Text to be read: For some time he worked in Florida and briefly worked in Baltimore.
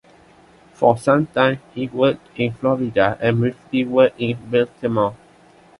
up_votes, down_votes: 2, 0